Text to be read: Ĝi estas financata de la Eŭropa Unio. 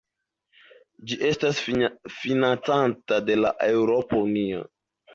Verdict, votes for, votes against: rejected, 1, 2